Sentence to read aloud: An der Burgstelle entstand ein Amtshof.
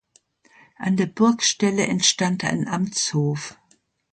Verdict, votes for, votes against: accepted, 2, 0